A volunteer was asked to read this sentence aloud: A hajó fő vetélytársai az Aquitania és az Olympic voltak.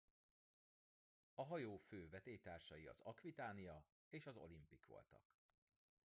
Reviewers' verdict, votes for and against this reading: rejected, 0, 3